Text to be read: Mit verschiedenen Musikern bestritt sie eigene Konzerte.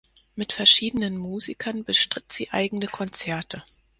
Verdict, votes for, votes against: accepted, 4, 0